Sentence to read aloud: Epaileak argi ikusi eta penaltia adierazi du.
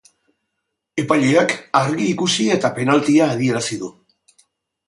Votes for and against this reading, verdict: 2, 0, accepted